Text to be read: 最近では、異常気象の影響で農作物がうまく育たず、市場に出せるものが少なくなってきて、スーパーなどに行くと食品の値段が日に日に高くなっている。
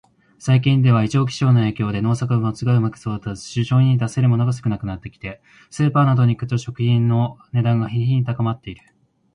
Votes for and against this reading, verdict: 0, 2, rejected